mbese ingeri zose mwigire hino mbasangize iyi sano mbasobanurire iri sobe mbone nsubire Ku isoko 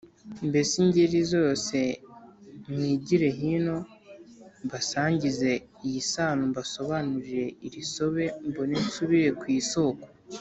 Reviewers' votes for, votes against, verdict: 2, 0, accepted